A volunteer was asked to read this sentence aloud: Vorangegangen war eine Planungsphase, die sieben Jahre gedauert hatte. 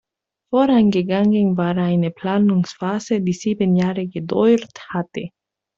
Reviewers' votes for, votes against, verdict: 0, 2, rejected